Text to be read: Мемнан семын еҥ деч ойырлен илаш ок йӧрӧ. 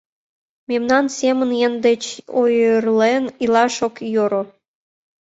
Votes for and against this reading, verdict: 1, 2, rejected